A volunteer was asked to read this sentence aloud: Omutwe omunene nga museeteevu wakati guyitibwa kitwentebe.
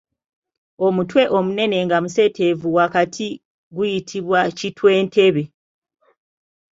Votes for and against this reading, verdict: 2, 0, accepted